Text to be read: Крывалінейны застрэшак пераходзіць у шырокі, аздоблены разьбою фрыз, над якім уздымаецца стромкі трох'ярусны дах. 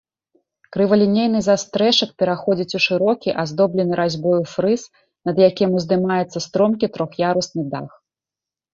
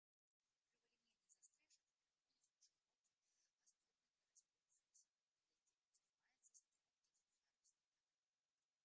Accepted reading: first